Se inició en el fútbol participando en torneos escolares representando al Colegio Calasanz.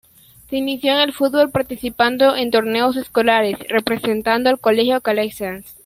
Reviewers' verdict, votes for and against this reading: accepted, 2, 1